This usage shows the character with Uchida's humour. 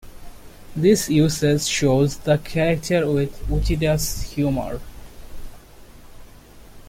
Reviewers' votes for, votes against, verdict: 0, 2, rejected